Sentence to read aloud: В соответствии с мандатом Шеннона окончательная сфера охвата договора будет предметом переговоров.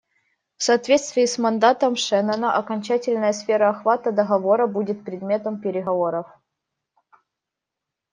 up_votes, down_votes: 2, 0